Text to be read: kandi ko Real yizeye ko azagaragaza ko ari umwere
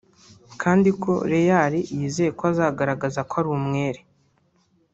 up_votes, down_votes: 0, 2